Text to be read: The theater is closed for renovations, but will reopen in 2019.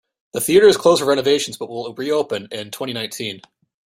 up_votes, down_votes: 0, 2